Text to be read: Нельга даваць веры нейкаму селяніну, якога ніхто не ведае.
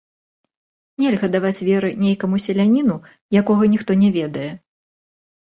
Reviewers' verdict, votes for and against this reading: rejected, 1, 2